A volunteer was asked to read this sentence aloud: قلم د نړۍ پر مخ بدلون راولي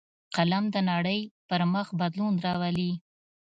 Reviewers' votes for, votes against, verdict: 2, 0, accepted